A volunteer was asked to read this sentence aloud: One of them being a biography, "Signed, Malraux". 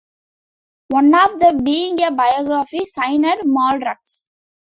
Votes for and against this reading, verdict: 0, 2, rejected